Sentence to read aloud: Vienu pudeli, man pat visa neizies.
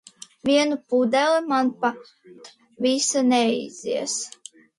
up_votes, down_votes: 2, 0